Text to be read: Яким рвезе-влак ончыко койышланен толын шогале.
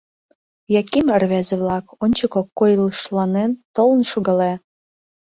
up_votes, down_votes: 0, 2